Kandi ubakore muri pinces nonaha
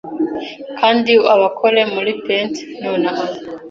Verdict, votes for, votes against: rejected, 0, 2